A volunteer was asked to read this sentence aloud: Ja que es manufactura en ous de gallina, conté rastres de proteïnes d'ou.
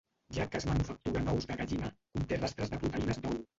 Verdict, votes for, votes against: rejected, 0, 2